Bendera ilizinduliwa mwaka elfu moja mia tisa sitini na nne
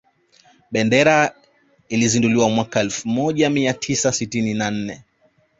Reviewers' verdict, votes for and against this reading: accepted, 2, 0